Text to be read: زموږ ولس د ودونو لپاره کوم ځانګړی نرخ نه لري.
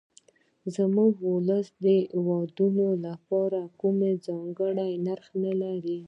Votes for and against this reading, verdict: 2, 0, accepted